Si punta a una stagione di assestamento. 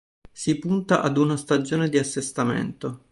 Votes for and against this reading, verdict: 1, 2, rejected